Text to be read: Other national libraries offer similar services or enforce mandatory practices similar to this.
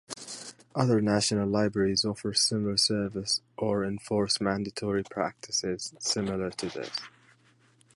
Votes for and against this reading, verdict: 2, 0, accepted